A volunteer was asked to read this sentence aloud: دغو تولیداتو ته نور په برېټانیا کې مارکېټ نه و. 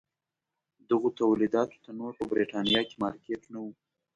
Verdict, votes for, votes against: accepted, 2, 0